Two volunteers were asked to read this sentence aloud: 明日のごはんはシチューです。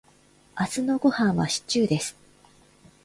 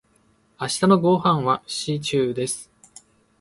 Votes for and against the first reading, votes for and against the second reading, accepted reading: 2, 0, 1, 2, first